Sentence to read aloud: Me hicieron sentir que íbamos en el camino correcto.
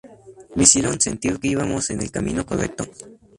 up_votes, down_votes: 0, 2